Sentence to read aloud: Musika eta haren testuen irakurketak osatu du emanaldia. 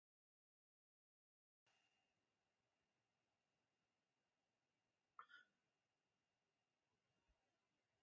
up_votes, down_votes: 0, 2